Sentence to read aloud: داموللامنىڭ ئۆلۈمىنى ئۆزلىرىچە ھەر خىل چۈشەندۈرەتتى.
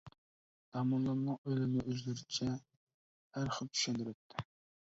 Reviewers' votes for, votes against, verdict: 0, 2, rejected